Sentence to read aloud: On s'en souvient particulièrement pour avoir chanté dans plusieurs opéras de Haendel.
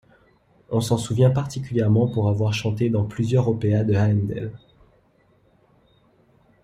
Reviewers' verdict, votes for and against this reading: rejected, 1, 2